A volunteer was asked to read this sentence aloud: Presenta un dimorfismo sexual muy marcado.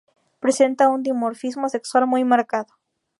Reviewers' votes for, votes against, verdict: 2, 0, accepted